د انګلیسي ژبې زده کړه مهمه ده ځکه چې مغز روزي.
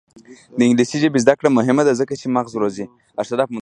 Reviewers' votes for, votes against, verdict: 1, 2, rejected